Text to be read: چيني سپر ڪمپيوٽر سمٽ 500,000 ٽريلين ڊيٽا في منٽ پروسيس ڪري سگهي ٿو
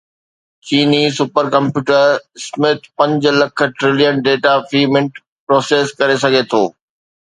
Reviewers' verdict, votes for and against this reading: rejected, 0, 2